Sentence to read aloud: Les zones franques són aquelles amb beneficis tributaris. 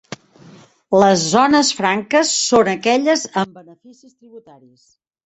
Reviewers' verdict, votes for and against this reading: rejected, 0, 2